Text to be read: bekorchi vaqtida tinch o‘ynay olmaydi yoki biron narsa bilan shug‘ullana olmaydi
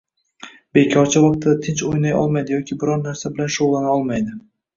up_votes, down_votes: 0, 2